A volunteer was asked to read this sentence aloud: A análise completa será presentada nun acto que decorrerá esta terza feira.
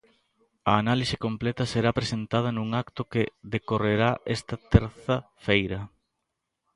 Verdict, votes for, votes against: accepted, 2, 0